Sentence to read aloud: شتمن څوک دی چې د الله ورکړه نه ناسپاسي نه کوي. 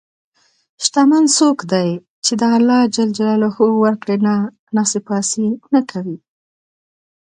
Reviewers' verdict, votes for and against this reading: accepted, 2, 0